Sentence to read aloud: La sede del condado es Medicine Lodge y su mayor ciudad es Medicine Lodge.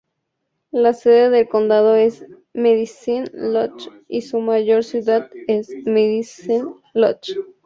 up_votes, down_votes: 2, 0